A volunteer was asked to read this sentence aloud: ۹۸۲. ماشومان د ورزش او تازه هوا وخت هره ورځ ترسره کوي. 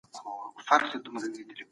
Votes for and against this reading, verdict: 0, 2, rejected